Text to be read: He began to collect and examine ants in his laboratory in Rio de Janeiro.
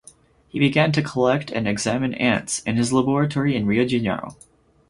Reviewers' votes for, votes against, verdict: 4, 2, accepted